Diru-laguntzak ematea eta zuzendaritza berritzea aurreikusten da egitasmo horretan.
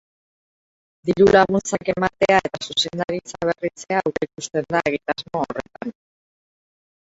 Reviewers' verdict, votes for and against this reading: rejected, 2, 8